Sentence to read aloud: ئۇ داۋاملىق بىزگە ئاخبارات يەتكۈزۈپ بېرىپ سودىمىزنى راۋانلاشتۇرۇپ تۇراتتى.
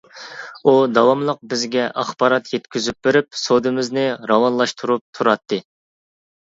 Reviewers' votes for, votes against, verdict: 2, 0, accepted